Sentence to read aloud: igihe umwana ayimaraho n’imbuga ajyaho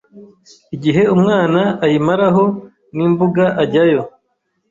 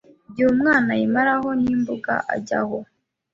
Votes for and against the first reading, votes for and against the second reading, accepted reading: 1, 2, 2, 0, second